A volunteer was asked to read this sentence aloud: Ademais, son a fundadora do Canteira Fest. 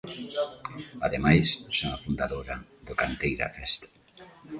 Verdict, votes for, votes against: accepted, 2, 1